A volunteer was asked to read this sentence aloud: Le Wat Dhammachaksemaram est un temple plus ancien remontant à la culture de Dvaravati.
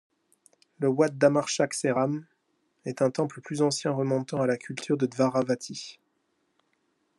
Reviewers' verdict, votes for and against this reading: accepted, 2, 0